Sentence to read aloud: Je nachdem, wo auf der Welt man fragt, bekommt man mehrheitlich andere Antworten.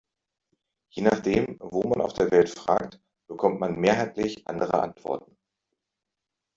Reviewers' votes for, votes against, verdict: 0, 2, rejected